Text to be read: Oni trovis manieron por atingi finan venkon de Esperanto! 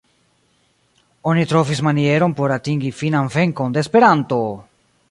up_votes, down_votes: 2, 0